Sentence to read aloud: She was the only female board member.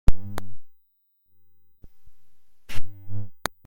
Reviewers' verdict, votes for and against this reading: rejected, 0, 2